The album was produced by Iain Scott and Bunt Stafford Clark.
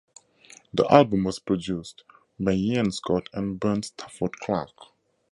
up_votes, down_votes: 2, 0